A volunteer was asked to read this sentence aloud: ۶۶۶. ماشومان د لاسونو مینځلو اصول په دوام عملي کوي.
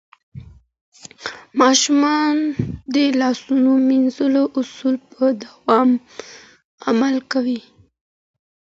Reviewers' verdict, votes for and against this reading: rejected, 0, 2